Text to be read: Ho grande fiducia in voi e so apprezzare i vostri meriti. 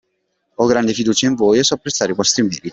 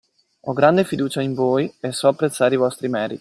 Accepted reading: first